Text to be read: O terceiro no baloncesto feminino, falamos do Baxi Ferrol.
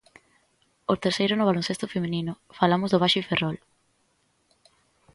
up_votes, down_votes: 2, 0